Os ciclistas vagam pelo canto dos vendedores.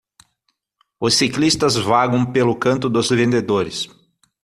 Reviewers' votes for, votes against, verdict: 6, 0, accepted